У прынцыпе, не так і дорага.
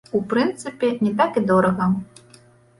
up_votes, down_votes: 2, 0